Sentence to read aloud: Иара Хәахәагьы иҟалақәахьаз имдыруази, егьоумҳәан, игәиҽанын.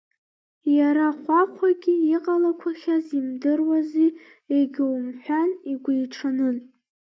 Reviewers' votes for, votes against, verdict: 1, 2, rejected